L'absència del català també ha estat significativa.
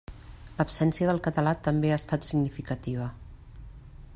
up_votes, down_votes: 3, 0